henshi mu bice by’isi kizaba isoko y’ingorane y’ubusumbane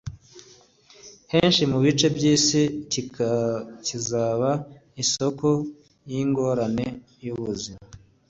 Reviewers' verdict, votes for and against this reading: rejected, 1, 2